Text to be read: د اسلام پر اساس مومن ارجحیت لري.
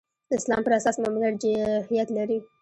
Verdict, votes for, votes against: rejected, 1, 2